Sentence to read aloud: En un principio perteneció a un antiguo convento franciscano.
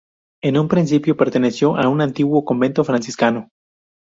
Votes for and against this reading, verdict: 2, 0, accepted